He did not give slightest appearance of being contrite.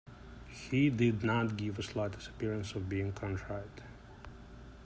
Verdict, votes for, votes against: accepted, 2, 1